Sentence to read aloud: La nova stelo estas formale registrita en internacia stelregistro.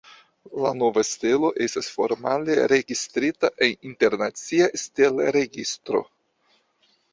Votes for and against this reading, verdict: 0, 2, rejected